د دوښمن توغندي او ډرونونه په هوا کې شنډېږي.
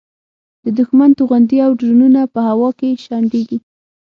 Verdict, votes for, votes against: rejected, 3, 6